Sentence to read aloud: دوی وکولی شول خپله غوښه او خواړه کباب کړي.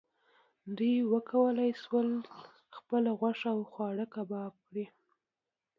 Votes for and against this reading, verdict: 1, 2, rejected